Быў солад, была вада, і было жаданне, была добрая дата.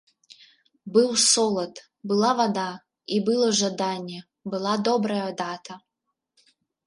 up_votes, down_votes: 0, 2